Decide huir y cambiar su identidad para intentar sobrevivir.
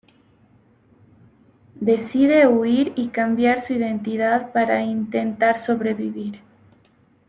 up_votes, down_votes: 1, 2